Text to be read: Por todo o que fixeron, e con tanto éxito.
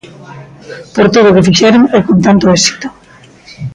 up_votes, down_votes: 2, 0